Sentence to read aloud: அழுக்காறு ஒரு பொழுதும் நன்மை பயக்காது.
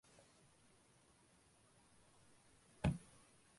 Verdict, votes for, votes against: rejected, 0, 2